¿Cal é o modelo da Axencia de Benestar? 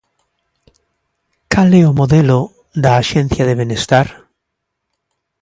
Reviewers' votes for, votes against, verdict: 2, 0, accepted